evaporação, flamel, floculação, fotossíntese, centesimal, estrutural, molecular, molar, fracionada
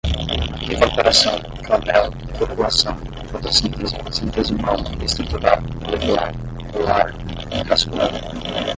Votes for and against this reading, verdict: 5, 5, rejected